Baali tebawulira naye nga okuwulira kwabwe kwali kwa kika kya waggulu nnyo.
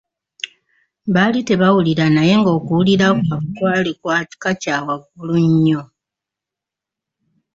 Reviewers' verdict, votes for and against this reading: accepted, 2, 1